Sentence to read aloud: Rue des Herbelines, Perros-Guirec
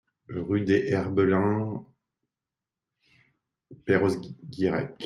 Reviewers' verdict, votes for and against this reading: rejected, 0, 3